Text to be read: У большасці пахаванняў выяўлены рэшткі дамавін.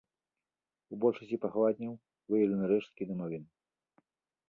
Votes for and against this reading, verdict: 1, 2, rejected